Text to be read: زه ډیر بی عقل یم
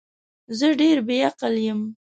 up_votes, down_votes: 2, 0